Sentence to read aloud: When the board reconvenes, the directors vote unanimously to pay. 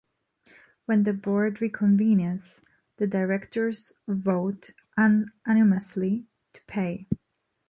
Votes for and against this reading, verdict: 1, 2, rejected